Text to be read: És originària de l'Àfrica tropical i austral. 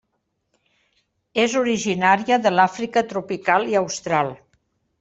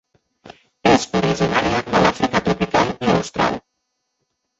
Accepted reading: first